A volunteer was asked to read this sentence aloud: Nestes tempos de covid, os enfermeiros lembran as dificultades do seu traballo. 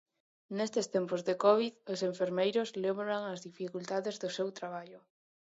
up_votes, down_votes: 2, 1